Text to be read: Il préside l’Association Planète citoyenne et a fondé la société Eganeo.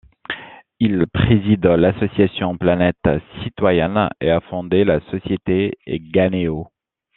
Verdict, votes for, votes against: accepted, 2, 0